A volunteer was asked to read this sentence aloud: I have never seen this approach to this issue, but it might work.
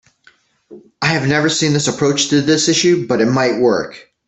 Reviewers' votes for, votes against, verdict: 2, 0, accepted